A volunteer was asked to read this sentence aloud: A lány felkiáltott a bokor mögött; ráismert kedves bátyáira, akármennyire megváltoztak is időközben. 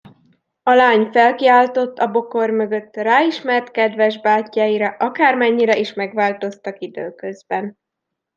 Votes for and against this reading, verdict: 1, 2, rejected